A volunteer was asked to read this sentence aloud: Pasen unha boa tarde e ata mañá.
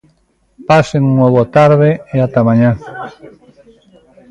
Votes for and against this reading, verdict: 2, 1, accepted